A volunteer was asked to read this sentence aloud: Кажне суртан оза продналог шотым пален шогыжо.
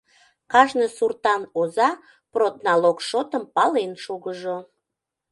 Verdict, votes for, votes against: accepted, 2, 0